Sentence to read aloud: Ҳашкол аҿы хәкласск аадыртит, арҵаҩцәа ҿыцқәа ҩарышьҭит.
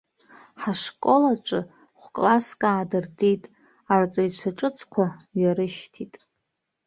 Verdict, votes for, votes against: rejected, 1, 2